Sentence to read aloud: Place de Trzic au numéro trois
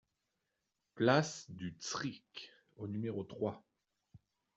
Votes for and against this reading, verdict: 1, 2, rejected